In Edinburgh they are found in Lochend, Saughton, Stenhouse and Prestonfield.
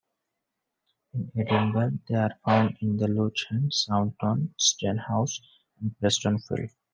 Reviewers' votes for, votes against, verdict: 0, 2, rejected